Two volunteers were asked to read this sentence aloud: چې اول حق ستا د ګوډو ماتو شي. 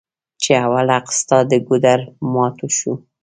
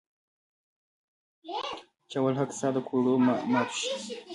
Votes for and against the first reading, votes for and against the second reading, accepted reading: 1, 2, 2, 1, second